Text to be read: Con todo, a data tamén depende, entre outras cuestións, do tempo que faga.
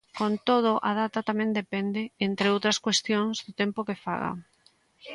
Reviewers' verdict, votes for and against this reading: accepted, 2, 0